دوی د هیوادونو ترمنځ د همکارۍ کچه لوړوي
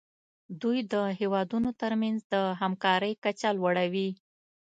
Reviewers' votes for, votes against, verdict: 2, 0, accepted